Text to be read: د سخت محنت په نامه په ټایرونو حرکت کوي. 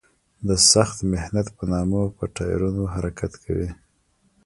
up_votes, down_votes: 1, 2